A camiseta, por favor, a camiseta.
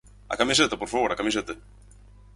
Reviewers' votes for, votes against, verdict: 4, 0, accepted